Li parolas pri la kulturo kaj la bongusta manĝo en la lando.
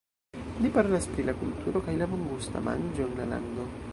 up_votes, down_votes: 1, 2